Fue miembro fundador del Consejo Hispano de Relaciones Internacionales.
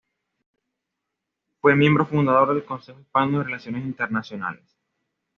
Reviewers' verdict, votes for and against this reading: accepted, 2, 0